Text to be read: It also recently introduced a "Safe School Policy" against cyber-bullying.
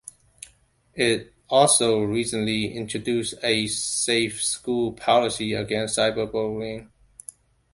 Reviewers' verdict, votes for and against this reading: accepted, 2, 0